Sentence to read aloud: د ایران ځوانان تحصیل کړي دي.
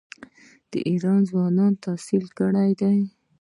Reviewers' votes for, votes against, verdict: 2, 1, accepted